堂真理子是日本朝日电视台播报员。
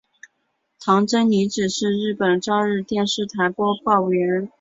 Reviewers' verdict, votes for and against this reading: accepted, 6, 0